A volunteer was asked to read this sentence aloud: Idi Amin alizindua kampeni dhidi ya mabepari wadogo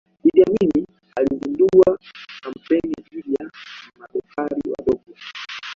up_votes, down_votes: 2, 1